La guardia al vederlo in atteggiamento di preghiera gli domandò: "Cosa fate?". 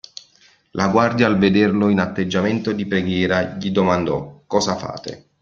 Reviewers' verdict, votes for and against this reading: accepted, 2, 0